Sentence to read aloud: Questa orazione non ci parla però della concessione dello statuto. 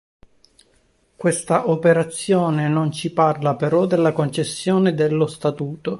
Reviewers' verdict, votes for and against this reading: rejected, 1, 2